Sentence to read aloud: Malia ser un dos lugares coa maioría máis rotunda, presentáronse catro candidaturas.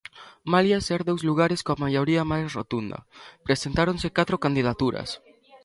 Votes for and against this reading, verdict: 0, 2, rejected